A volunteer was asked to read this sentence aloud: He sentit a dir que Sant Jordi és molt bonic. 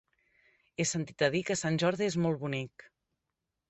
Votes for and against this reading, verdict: 3, 0, accepted